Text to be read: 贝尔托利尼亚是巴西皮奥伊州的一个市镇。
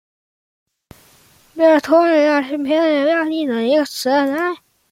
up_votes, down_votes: 0, 2